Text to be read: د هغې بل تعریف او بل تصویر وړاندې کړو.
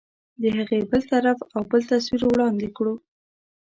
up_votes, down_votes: 1, 2